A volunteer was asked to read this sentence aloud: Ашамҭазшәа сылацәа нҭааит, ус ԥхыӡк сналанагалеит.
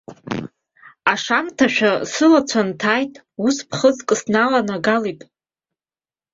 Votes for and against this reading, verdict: 2, 0, accepted